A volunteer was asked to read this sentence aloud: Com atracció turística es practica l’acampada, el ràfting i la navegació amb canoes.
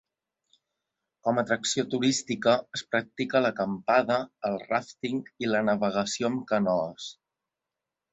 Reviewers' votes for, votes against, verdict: 3, 0, accepted